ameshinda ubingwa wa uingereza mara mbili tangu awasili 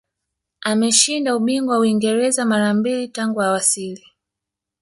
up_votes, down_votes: 3, 0